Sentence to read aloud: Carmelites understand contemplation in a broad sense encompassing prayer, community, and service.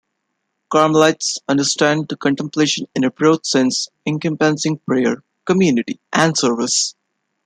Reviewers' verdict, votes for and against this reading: rejected, 1, 2